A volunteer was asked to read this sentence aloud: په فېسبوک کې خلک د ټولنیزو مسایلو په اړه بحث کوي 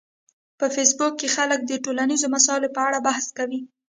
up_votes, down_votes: 0, 2